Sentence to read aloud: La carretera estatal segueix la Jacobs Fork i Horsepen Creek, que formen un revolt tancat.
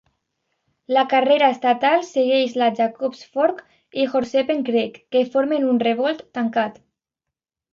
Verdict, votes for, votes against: rejected, 1, 2